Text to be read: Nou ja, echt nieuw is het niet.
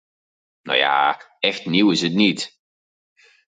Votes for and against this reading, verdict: 4, 0, accepted